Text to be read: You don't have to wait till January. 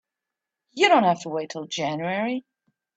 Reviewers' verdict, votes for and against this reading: accepted, 2, 1